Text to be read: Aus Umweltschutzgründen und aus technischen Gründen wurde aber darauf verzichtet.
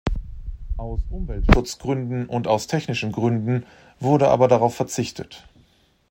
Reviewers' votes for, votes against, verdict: 1, 2, rejected